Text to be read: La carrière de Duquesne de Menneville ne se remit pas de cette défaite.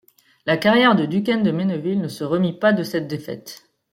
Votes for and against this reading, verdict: 2, 0, accepted